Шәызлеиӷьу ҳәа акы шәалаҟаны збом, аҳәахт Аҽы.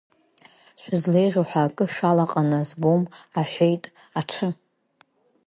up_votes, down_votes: 0, 2